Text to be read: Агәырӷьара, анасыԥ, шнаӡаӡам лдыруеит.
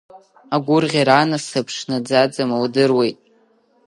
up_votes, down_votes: 2, 0